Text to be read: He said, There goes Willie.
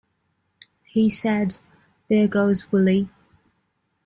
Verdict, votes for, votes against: accepted, 2, 0